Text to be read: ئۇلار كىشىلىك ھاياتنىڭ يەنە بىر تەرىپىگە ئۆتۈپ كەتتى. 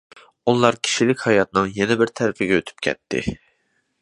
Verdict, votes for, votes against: accepted, 2, 0